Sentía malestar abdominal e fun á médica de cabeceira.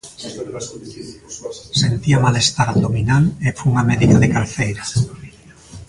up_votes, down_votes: 1, 2